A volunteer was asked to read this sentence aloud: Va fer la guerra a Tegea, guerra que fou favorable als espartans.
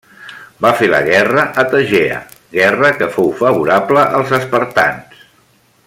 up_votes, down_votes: 2, 0